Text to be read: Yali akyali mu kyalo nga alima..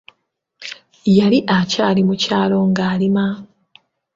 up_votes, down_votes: 3, 0